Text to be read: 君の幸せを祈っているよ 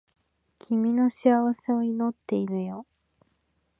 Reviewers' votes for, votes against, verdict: 1, 2, rejected